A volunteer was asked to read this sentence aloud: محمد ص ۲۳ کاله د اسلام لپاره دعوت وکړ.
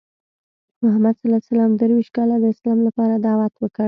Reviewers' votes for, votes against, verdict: 0, 2, rejected